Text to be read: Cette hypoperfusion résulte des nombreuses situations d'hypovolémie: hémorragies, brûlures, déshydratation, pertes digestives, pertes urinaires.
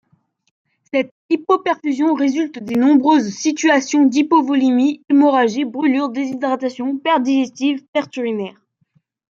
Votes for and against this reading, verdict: 1, 2, rejected